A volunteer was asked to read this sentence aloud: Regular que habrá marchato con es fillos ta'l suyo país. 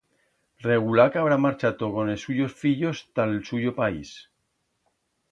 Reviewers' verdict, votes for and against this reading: rejected, 1, 2